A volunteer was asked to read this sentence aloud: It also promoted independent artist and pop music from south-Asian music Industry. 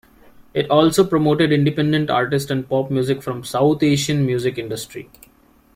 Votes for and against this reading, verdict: 2, 0, accepted